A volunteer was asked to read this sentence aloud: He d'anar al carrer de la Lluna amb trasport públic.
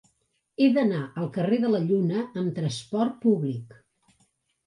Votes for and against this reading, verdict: 3, 0, accepted